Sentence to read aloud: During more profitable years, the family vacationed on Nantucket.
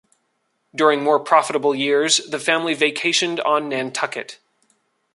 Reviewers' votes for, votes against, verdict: 2, 0, accepted